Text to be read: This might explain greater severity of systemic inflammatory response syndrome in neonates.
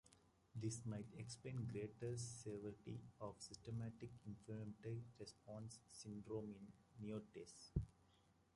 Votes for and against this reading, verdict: 0, 2, rejected